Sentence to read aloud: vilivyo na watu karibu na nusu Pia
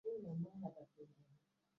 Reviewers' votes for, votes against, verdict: 0, 2, rejected